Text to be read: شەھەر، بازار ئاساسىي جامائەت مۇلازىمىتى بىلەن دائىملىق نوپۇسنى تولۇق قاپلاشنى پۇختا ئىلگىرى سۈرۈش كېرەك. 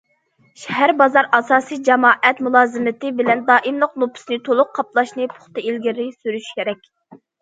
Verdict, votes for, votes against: accepted, 2, 0